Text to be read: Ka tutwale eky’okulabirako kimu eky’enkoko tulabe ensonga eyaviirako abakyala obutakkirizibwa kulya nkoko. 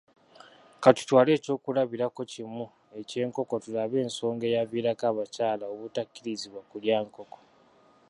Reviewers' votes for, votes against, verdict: 2, 0, accepted